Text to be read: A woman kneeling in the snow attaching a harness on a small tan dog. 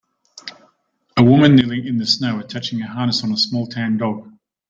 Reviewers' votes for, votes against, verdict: 1, 2, rejected